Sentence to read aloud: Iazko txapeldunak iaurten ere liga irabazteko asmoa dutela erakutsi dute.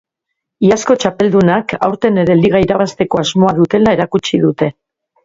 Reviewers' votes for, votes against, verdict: 0, 2, rejected